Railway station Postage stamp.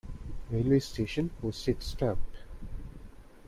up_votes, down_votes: 1, 2